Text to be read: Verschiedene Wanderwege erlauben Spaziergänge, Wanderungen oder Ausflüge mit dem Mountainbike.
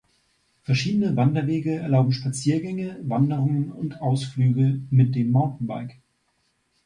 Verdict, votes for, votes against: rejected, 1, 2